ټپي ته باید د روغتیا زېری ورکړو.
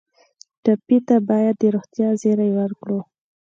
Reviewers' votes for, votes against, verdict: 2, 0, accepted